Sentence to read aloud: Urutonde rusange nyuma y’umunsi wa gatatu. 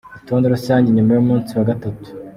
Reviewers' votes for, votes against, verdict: 2, 0, accepted